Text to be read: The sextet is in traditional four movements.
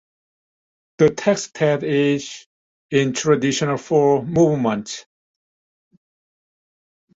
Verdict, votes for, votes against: rejected, 0, 2